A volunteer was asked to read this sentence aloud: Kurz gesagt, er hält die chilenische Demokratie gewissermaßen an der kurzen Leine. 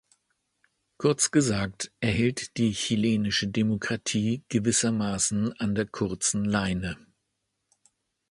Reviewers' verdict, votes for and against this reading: accepted, 2, 0